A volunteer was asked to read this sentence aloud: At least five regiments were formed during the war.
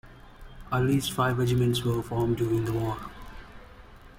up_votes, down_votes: 2, 0